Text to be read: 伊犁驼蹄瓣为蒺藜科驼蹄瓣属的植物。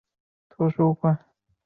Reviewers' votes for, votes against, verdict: 1, 5, rejected